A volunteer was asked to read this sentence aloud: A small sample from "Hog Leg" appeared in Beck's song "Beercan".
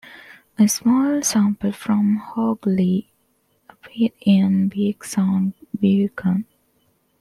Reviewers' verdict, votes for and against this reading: accepted, 2, 0